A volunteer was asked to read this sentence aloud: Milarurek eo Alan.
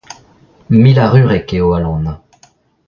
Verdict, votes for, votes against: accepted, 2, 1